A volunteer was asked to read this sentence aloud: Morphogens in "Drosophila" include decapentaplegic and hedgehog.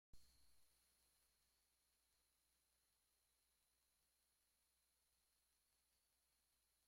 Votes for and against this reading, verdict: 0, 2, rejected